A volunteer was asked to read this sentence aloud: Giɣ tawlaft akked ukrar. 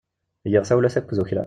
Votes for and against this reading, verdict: 0, 2, rejected